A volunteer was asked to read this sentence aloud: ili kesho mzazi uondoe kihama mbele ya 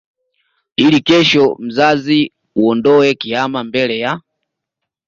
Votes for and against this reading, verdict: 2, 1, accepted